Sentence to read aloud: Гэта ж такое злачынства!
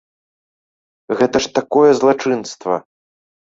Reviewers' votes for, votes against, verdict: 2, 1, accepted